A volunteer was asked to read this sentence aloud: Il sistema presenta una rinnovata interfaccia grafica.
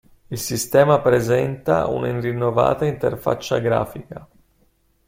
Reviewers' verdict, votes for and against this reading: accepted, 2, 1